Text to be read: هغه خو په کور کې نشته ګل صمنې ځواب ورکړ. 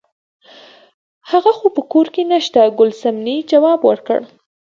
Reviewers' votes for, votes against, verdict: 0, 2, rejected